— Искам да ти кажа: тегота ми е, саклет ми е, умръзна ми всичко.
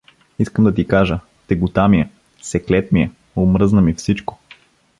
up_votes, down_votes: 1, 2